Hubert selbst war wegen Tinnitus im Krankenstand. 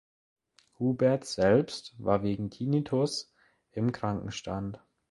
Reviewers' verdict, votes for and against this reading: accepted, 2, 0